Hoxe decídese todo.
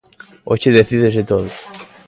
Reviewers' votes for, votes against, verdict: 2, 0, accepted